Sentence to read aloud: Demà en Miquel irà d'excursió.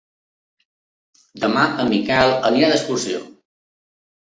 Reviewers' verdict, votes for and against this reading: rejected, 0, 2